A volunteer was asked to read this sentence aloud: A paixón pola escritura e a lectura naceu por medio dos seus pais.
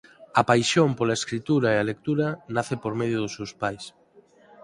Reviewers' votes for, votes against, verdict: 2, 4, rejected